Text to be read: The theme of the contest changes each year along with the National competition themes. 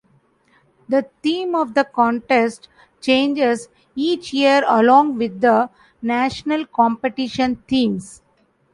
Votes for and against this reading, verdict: 2, 0, accepted